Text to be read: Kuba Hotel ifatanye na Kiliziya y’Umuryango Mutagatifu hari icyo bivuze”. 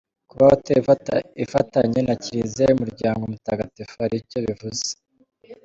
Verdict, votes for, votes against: rejected, 1, 2